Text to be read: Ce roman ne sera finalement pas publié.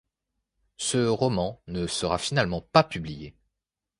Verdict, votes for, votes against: accepted, 2, 0